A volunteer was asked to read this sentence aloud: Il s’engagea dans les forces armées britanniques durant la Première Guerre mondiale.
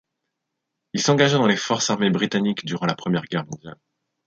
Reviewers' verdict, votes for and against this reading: accepted, 2, 0